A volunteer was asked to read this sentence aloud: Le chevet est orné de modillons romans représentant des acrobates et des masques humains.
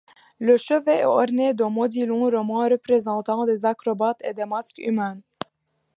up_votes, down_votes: 0, 2